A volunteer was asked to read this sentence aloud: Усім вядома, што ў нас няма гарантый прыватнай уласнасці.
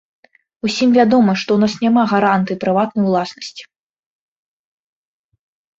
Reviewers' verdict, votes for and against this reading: accepted, 2, 0